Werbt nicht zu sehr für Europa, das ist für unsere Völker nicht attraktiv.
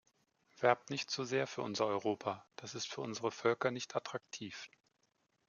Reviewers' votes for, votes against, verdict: 2, 0, accepted